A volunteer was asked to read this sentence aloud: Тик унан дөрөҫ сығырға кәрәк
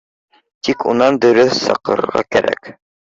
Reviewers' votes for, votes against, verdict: 1, 2, rejected